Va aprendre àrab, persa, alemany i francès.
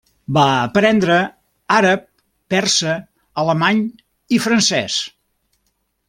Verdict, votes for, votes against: accepted, 3, 0